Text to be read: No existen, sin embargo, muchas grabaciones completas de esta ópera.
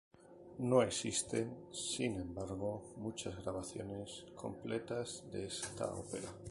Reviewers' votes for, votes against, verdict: 0, 2, rejected